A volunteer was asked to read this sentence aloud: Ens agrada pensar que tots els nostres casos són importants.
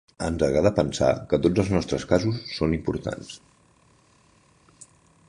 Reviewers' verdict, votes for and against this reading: accepted, 3, 0